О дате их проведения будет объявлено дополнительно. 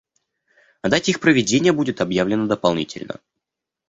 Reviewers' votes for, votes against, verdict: 2, 0, accepted